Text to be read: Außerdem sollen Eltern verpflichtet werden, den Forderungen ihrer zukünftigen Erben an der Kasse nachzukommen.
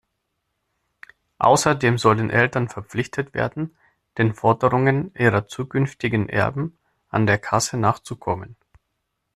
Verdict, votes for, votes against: accepted, 2, 0